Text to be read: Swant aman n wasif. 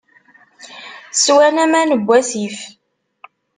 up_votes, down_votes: 0, 2